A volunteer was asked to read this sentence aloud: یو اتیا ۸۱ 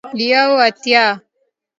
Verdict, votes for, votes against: rejected, 0, 2